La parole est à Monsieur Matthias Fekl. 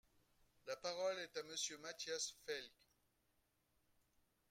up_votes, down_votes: 0, 2